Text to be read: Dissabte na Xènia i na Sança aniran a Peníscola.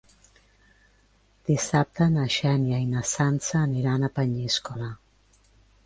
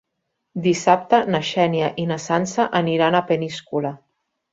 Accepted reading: second